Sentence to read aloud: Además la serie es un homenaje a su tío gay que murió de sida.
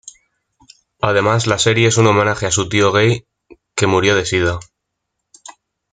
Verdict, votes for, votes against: accepted, 2, 0